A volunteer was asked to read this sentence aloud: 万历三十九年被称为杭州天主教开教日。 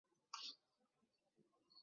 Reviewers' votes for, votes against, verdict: 0, 3, rejected